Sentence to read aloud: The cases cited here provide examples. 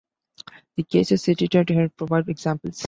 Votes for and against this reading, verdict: 2, 1, accepted